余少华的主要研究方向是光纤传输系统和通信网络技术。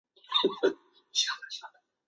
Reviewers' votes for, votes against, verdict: 1, 2, rejected